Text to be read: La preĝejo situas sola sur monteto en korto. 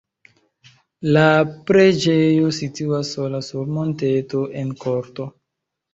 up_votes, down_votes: 2, 0